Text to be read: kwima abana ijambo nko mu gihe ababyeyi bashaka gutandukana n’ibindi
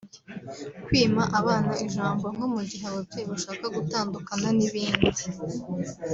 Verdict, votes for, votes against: rejected, 1, 2